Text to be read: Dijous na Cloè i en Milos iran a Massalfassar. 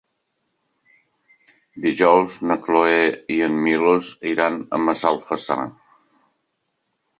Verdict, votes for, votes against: accepted, 3, 0